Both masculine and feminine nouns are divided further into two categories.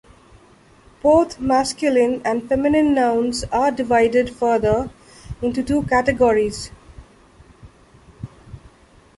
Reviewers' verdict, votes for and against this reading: accepted, 2, 0